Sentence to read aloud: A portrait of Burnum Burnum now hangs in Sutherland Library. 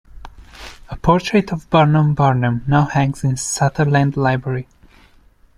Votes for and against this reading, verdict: 1, 2, rejected